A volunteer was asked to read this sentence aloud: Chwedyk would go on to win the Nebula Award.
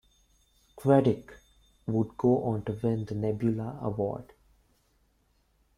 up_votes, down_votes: 2, 0